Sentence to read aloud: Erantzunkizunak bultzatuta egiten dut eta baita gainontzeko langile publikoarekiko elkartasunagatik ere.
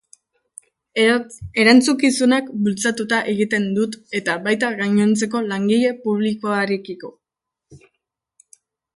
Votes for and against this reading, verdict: 0, 2, rejected